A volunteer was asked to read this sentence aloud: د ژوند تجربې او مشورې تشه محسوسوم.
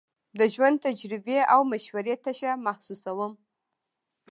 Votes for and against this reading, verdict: 1, 2, rejected